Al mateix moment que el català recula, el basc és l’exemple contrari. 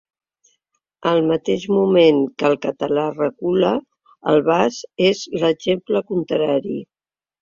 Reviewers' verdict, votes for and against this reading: accepted, 2, 0